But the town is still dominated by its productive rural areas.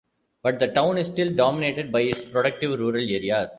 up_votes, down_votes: 2, 1